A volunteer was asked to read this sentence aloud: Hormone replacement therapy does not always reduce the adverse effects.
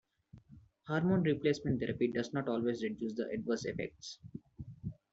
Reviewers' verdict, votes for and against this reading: accepted, 2, 0